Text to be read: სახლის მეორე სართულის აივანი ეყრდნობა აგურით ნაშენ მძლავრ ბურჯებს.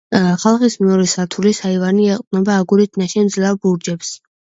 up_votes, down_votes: 2, 1